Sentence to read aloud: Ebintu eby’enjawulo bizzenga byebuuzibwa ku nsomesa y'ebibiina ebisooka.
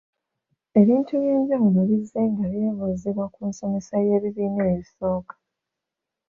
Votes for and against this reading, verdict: 2, 0, accepted